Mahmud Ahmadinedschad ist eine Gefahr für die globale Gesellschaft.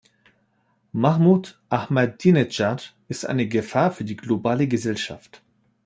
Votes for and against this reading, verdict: 2, 0, accepted